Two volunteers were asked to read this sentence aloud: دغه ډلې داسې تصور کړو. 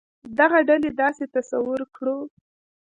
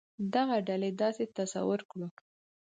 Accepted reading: second